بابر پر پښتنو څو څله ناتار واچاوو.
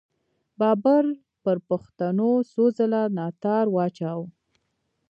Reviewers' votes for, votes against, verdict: 2, 0, accepted